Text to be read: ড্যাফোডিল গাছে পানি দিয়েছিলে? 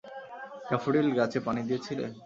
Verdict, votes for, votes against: accepted, 2, 0